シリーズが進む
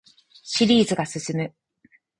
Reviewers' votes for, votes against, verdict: 0, 4, rejected